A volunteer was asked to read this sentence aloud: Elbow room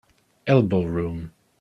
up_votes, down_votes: 2, 0